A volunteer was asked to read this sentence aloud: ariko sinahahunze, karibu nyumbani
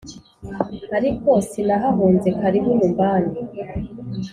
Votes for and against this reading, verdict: 2, 0, accepted